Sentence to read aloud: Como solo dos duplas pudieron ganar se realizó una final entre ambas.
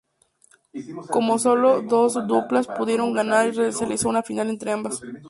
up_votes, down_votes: 0, 2